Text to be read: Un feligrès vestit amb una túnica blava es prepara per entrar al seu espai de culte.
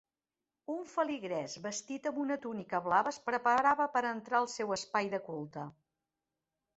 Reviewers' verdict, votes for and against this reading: rejected, 0, 2